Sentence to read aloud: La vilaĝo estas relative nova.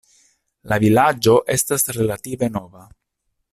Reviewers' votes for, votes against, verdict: 2, 0, accepted